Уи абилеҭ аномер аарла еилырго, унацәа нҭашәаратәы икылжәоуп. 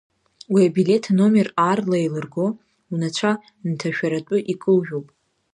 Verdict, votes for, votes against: accepted, 2, 0